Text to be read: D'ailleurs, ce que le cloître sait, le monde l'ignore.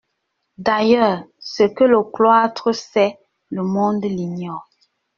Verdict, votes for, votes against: accepted, 2, 0